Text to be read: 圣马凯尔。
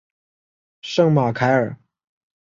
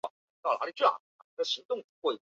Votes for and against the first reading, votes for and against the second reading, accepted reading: 2, 1, 0, 2, first